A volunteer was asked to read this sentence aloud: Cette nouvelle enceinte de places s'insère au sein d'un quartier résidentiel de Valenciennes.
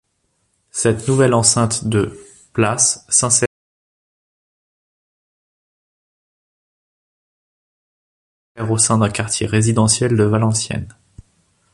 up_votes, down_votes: 0, 2